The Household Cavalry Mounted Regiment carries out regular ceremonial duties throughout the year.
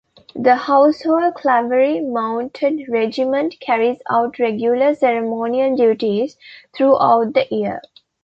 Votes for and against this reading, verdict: 2, 1, accepted